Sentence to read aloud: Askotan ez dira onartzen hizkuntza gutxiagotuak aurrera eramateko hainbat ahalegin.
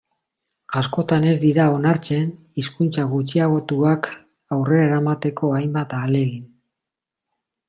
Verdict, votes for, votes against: rejected, 1, 2